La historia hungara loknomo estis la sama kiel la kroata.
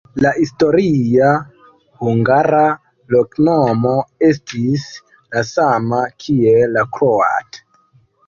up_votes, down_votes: 1, 2